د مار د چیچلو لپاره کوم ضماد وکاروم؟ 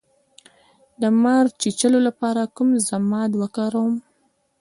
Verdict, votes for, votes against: rejected, 0, 2